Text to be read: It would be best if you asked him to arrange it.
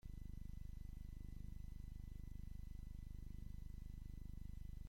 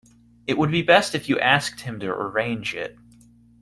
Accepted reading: second